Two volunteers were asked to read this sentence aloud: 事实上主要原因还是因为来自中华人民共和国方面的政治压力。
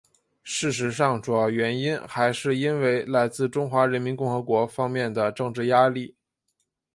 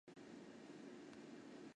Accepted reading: first